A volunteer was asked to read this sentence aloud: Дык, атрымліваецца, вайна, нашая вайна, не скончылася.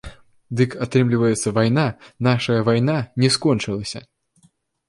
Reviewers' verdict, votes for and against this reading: accepted, 2, 0